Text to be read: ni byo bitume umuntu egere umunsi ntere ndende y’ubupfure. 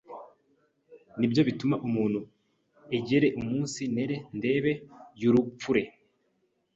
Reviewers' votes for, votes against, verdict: 1, 2, rejected